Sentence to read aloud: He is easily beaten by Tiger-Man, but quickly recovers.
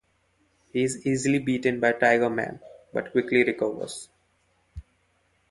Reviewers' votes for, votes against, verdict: 1, 2, rejected